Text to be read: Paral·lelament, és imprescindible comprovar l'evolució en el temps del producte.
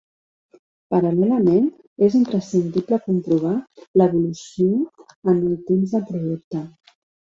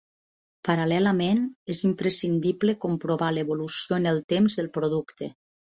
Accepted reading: second